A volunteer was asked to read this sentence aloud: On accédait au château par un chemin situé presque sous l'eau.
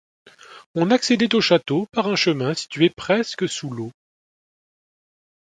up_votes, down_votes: 2, 0